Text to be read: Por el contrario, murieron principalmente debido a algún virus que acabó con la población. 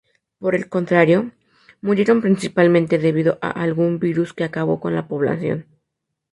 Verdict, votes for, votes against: rejected, 0, 2